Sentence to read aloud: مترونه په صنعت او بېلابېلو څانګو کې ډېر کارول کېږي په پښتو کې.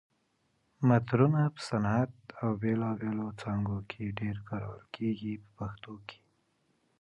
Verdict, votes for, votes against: accepted, 3, 0